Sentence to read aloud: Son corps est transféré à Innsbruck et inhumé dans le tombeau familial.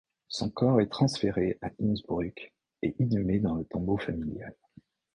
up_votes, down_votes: 2, 0